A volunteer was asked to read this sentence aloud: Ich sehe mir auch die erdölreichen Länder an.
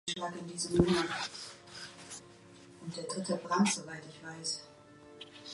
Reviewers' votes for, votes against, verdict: 0, 2, rejected